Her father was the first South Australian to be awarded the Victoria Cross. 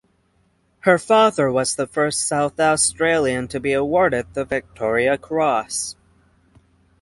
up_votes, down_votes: 6, 0